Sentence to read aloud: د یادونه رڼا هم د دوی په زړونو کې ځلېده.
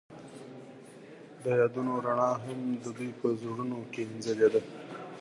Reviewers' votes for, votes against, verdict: 2, 1, accepted